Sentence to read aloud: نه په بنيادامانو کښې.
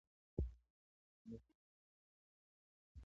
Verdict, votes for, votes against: rejected, 0, 2